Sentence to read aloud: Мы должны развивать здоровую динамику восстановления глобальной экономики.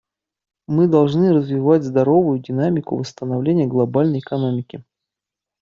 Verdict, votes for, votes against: accepted, 2, 0